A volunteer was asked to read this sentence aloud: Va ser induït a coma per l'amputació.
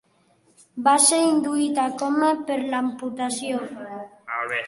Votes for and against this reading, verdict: 1, 2, rejected